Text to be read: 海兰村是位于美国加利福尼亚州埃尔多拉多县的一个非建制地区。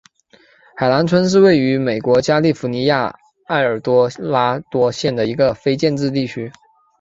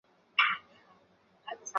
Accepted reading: second